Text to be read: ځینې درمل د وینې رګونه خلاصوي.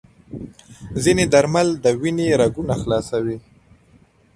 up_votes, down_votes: 2, 0